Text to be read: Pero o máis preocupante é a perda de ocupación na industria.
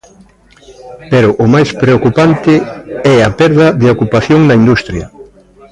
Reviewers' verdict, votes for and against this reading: accepted, 2, 0